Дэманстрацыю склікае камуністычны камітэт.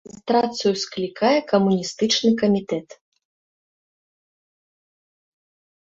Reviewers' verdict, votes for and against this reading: rejected, 1, 2